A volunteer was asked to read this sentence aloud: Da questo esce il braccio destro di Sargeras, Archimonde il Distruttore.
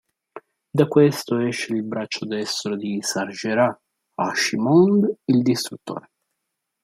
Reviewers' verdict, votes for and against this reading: rejected, 1, 2